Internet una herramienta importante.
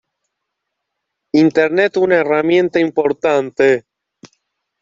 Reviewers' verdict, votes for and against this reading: accepted, 2, 0